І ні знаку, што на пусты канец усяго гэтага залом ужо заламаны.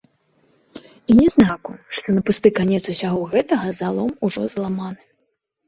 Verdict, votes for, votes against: rejected, 1, 2